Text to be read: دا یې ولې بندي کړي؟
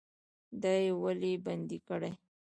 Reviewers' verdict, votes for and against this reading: rejected, 1, 2